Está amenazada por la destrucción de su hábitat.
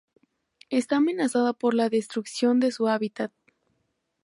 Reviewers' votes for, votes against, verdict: 2, 0, accepted